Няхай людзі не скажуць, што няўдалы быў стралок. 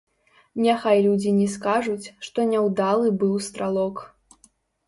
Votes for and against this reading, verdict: 0, 3, rejected